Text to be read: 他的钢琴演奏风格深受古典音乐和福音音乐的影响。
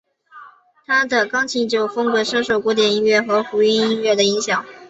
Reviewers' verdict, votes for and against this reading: accepted, 4, 1